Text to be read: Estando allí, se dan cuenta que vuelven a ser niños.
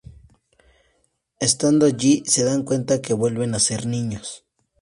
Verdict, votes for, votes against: accepted, 2, 0